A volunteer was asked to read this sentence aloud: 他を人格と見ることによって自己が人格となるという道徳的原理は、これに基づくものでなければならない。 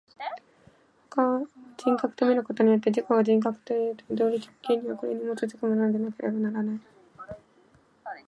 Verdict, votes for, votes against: rejected, 0, 2